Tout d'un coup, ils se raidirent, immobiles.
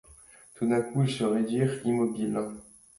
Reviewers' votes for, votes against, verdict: 2, 0, accepted